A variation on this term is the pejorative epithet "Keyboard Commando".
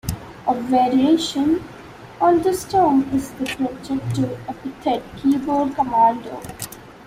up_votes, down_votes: 1, 2